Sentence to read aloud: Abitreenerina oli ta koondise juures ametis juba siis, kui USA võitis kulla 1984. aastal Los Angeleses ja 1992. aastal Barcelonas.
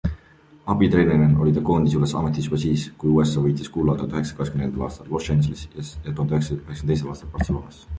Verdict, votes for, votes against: rejected, 0, 2